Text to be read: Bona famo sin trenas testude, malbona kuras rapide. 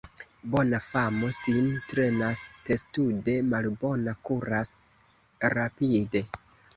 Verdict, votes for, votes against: accepted, 2, 1